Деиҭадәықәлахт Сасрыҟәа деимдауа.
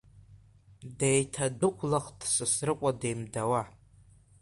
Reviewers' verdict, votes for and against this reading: rejected, 0, 2